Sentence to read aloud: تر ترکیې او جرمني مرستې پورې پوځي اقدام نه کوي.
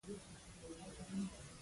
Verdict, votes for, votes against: rejected, 0, 2